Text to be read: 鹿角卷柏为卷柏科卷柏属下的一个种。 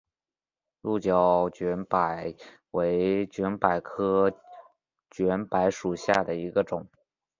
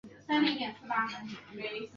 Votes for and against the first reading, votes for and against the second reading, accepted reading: 5, 1, 0, 3, first